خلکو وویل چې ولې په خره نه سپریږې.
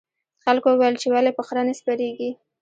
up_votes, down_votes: 1, 2